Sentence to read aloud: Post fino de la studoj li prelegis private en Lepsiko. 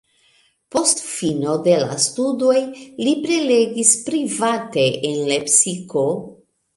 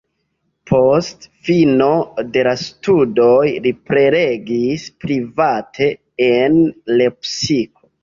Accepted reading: first